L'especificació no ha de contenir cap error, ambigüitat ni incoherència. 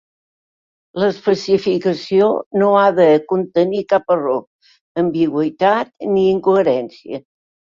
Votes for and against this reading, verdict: 3, 1, accepted